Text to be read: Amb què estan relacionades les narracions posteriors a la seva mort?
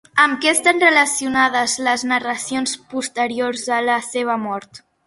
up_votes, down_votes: 4, 0